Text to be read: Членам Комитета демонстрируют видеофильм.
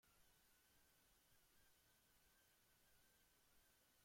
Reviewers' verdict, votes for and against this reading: rejected, 0, 2